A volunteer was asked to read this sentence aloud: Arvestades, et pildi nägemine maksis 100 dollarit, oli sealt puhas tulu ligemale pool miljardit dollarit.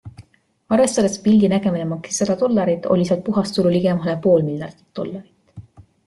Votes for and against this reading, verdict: 0, 2, rejected